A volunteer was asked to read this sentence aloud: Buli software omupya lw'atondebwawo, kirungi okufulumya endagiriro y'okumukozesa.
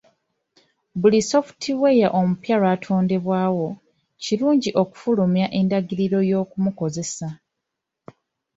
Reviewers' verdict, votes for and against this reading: accepted, 2, 1